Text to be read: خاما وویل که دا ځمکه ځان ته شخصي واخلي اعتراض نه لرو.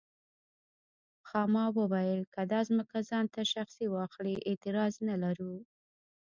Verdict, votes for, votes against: accepted, 2, 1